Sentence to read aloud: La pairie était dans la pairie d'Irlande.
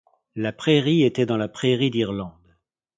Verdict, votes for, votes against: accepted, 2, 0